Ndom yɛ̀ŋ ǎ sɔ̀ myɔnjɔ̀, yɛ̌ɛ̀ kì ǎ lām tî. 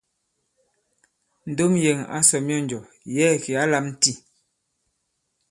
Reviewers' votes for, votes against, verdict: 2, 0, accepted